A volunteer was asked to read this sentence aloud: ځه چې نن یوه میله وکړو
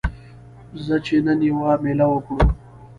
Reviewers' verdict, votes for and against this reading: accepted, 2, 0